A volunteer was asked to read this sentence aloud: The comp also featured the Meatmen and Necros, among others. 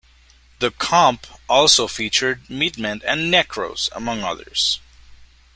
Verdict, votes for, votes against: rejected, 1, 2